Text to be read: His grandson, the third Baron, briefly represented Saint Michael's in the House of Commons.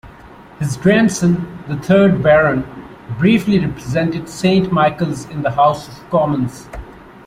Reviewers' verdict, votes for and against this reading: accepted, 2, 0